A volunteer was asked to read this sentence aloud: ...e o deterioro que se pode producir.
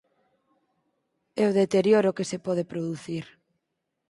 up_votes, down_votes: 4, 0